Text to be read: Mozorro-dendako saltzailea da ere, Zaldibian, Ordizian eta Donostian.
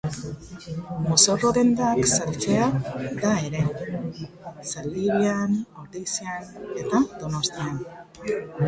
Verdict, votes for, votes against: rejected, 0, 2